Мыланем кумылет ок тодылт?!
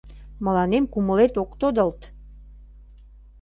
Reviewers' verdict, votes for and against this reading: accepted, 2, 0